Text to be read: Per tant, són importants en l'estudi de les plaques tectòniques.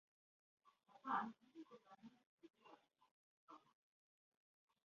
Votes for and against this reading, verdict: 1, 2, rejected